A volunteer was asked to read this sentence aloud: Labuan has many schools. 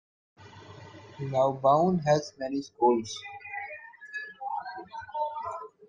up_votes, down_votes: 1, 2